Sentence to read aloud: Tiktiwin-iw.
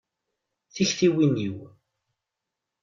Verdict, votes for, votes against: accepted, 2, 0